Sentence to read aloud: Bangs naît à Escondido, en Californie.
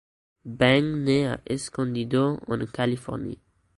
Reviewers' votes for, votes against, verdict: 1, 2, rejected